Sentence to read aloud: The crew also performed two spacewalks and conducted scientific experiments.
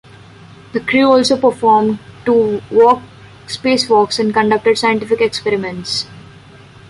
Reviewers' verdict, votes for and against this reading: rejected, 0, 2